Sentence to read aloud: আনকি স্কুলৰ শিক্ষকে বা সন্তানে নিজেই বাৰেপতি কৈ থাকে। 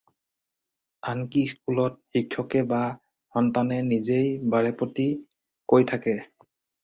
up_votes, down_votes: 2, 4